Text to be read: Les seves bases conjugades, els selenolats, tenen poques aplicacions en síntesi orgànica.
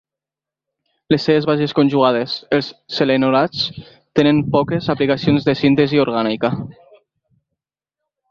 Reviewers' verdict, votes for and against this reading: rejected, 1, 2